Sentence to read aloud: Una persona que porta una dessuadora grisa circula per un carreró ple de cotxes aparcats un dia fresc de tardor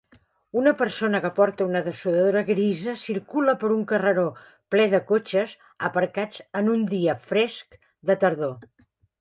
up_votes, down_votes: 1, 2